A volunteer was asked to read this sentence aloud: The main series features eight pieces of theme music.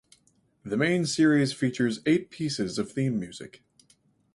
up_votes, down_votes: 2, 2